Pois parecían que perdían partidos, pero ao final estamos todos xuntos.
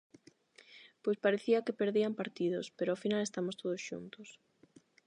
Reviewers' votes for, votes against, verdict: 0, 4, rejected